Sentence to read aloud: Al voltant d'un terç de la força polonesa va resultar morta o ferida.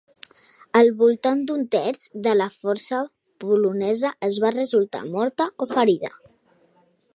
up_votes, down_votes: 2, 0